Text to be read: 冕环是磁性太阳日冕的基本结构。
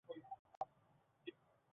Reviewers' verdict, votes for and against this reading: rejected, 0, 2